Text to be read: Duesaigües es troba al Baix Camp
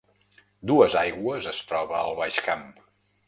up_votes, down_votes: 2, 0